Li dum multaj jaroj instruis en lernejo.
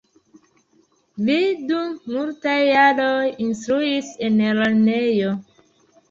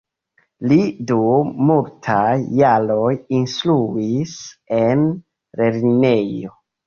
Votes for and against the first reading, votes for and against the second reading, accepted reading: 2, 0, 0, 2, first